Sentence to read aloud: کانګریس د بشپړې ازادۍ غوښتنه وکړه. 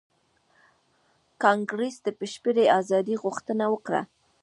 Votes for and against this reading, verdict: 1, 2, rejected